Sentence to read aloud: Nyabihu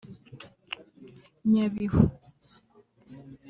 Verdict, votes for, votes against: rejected, 1, 2